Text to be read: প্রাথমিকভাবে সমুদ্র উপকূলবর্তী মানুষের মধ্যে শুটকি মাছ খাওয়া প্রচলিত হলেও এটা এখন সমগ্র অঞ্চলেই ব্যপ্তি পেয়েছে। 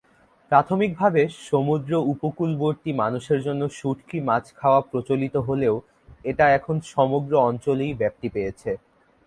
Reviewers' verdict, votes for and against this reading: rejected, 0, 2